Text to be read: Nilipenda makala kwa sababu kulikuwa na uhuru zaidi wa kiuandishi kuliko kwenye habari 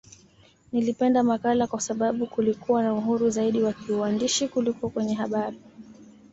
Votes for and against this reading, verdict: 2, 1, accepted